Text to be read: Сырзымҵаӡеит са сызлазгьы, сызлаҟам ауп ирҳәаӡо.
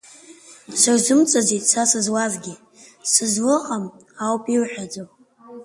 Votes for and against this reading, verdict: 2, 0, accepted